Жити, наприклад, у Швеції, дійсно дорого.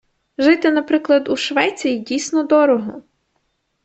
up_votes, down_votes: 2, 0